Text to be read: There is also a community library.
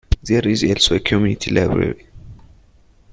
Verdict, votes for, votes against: accepted, 2, 0